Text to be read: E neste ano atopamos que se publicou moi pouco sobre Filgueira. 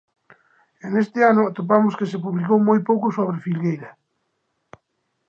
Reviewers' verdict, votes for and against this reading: accepted, 2, 0